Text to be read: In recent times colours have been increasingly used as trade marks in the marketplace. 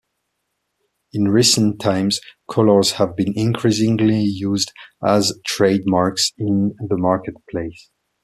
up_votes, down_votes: 2, 0